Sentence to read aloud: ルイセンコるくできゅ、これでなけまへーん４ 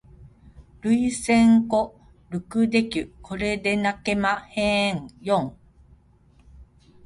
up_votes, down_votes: 0, 2